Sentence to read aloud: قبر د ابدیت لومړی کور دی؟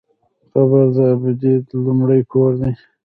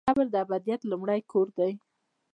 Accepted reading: second